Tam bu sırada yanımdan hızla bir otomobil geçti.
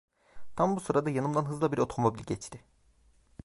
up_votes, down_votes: 1, 2